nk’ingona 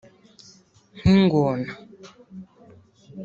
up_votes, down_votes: 2, 0